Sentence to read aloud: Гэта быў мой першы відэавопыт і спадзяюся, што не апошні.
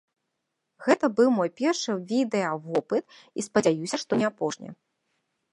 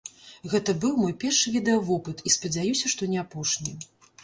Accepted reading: second